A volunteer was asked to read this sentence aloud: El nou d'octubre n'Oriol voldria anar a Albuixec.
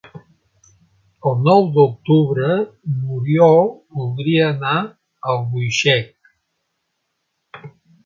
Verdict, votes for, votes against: rejected, 1, 2